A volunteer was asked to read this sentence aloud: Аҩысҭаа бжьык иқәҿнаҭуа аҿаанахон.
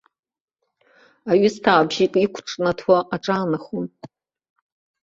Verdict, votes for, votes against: accepted, 2, 0